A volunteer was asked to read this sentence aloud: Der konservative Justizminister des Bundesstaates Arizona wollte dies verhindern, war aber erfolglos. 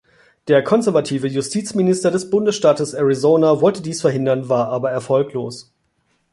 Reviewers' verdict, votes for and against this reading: accepted, 2, 0